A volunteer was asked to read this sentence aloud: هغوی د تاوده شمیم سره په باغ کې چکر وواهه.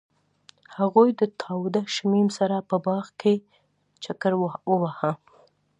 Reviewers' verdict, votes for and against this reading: accepted, 2, 0